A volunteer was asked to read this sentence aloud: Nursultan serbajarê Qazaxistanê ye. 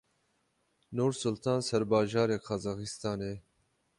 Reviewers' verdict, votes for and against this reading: rejected, 6, 6